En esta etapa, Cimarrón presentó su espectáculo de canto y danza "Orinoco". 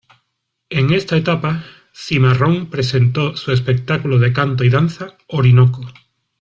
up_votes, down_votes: 2, 1